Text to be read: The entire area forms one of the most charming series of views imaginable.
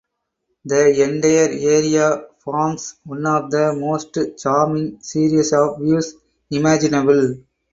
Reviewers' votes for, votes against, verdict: 0, 4, rejected